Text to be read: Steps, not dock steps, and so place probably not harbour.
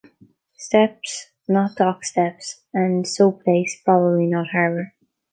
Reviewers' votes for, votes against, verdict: 1, 2, rejected